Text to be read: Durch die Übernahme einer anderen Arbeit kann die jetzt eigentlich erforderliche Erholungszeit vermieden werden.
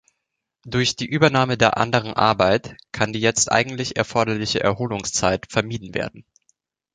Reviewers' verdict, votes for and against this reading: rejected, 0, 2